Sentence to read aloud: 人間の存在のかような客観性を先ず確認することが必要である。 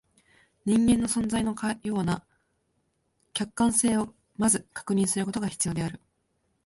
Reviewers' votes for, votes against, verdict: 2, 3, rejected